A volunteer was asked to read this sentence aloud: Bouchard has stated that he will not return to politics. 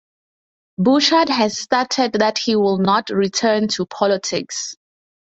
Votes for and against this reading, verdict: 0, 2, rejected